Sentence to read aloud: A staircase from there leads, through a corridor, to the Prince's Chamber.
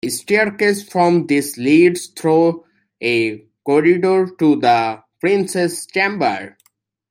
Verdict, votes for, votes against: rejected, 0, 2